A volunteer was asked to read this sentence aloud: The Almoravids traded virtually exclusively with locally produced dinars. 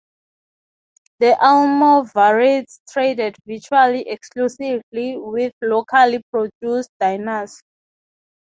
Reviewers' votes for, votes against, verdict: 0, 3, rejected